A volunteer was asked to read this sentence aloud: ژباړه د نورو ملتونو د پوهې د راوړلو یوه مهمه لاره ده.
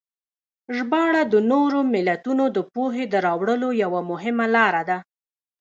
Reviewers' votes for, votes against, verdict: 2, 0, accepted